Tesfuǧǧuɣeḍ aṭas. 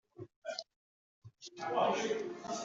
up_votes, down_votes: 0, 2